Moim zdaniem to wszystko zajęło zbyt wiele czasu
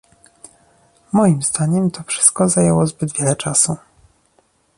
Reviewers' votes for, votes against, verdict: 2, 1, accepted